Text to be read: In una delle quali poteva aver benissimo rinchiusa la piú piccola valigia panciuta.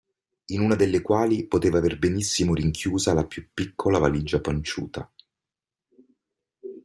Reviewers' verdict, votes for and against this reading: accepted, 2, 0